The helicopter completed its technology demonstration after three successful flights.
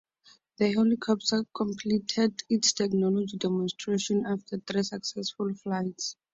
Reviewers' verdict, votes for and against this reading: accepted, 4, 0